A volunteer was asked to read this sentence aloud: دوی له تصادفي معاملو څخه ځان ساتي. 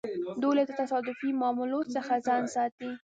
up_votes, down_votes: 2, 0